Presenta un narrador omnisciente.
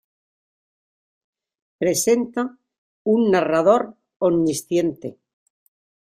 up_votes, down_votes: 2, 0